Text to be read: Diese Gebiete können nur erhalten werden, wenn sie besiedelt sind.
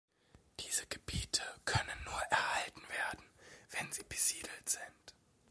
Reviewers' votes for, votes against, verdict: 2, 0, accepted